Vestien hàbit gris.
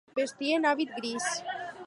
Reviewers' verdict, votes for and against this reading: accepted, 4, 0